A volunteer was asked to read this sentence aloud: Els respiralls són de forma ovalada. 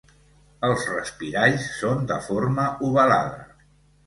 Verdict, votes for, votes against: accepted, 2, 0